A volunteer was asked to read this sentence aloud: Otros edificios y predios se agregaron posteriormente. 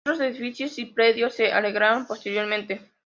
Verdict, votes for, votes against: rejected, 0, 2